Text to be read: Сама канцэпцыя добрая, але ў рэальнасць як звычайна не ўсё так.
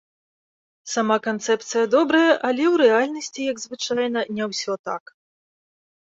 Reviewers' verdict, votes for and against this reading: rejected, 0, 2